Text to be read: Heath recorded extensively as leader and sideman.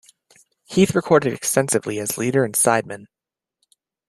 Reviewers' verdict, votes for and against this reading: accepted, 2, 0